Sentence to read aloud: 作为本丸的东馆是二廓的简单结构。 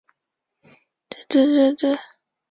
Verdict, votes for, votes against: rejected, 0, 2